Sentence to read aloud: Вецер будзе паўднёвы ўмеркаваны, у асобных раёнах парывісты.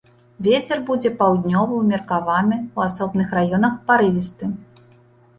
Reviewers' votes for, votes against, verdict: 2, 0, accepted